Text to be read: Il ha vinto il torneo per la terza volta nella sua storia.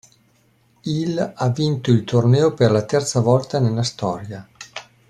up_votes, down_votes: 1, 2